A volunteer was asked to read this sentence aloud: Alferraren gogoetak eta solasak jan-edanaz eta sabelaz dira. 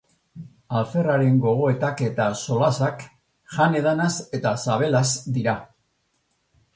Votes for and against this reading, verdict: 2, 0, accepted